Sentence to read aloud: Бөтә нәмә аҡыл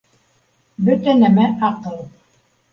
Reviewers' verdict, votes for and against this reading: accepted, 3, 0